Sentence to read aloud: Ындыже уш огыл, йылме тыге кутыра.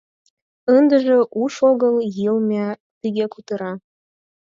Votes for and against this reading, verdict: 4, 0, accepted